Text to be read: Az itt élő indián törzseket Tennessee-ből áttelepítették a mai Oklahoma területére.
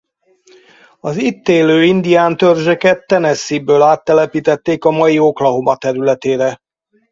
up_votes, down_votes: 2, 0